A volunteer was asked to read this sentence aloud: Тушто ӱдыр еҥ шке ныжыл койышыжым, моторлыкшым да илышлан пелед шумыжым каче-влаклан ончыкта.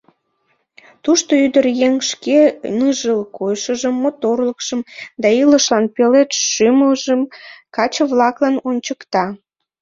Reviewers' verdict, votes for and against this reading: rejected, 0, 2